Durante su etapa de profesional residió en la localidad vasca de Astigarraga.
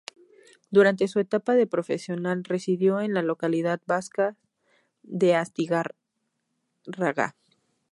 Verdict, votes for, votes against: rejected, 0, 2